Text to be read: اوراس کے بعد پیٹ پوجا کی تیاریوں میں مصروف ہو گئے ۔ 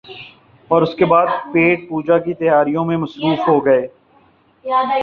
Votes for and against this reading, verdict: 2, 0, accepted